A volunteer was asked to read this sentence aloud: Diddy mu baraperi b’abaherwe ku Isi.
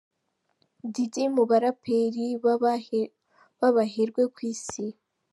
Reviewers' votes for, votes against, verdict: 0, 2, rejected